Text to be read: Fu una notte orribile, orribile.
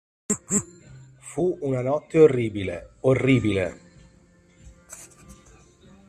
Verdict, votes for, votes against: accepted, 2, 0